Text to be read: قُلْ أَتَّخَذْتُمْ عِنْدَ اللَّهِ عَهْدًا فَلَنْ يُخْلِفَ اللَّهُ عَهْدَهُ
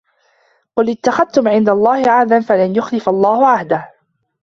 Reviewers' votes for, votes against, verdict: 0, 2, rejected